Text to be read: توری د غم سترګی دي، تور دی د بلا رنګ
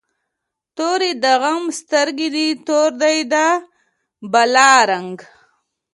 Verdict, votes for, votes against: accepted, 2, 0